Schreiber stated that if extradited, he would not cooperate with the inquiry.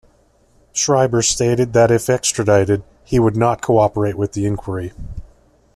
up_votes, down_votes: 2, 0